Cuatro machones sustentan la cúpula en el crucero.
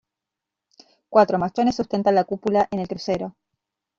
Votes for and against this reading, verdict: 2, 1, accepted